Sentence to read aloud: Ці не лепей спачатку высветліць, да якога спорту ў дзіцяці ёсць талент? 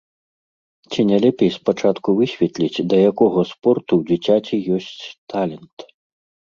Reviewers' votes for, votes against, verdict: 2, 0, accepted